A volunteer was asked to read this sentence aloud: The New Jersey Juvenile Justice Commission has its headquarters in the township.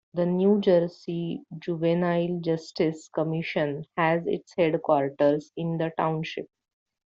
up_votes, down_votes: 2, 1